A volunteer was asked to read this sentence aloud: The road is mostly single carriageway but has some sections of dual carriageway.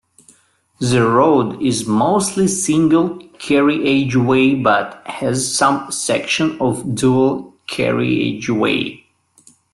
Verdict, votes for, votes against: rejected, 0, 2